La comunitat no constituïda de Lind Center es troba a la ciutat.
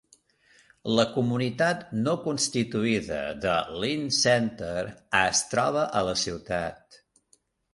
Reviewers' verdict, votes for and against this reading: accepted, 2, 1